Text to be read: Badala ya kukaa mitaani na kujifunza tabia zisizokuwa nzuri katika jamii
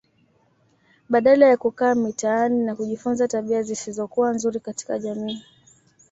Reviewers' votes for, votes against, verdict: 2, 0, accepted